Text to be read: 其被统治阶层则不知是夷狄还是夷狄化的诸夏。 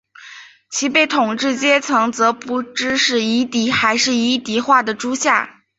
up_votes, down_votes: 3, 0